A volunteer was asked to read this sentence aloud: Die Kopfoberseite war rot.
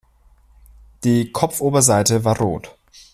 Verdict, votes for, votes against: accepted, 2, 0